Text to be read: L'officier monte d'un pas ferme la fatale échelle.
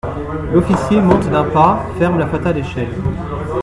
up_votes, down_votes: 0, 3